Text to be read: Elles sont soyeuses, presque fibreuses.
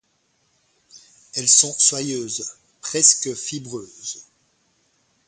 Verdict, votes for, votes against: accepted, 4, 0